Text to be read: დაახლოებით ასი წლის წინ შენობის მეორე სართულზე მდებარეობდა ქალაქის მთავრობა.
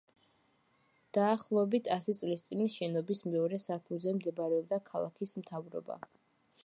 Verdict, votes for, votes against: rejected, 1, 2